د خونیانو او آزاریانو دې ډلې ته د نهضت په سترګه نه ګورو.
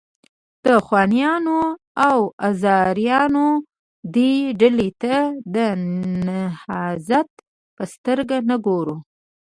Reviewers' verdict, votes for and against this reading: rejected, 1, 2